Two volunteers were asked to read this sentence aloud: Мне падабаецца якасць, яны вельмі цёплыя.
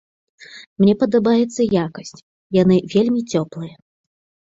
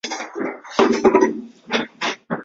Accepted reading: first